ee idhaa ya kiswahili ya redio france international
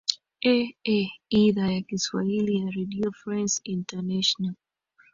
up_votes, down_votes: 2, 0